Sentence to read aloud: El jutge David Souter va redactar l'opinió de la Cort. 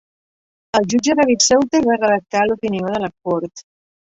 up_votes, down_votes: 2, 1